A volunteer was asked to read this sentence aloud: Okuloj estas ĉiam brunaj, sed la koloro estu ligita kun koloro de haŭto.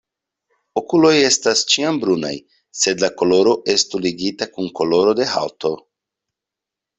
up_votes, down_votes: 2, 0